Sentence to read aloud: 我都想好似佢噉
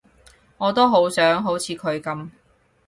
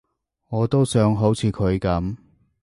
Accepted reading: second